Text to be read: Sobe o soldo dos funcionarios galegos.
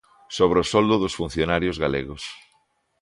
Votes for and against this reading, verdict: 0, 2, rejected